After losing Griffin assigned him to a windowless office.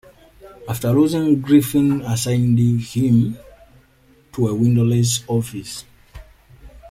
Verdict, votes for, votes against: rejected, 0, 2